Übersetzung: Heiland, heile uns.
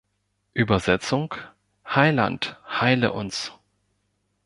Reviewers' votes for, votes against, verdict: 2, 0, accepted